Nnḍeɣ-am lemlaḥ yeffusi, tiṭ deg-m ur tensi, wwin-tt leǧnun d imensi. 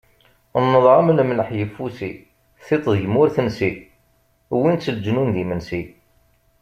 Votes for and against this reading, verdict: 2, 0, accepted